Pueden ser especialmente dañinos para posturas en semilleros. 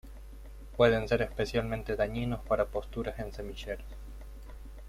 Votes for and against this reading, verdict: 2, 0, accepted